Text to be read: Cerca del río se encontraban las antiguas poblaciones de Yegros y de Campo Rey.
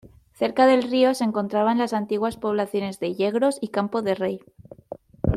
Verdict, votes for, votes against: rejected, 1, 2